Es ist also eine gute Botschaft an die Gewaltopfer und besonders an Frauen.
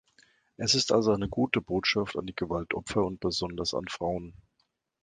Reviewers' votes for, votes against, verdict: 2, 0, accepted